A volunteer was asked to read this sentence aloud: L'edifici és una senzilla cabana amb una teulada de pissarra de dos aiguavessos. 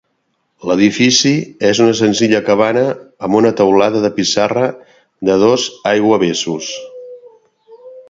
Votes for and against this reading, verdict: 2, 0, accepted